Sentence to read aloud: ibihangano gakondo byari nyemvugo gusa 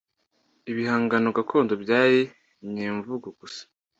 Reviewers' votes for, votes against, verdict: 2, 0, accepted